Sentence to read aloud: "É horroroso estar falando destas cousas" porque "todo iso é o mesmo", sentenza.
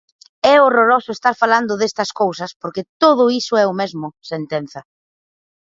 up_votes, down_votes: 4, 0